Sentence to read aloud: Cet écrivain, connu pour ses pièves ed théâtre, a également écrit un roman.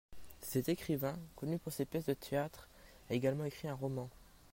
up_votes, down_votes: 0, 2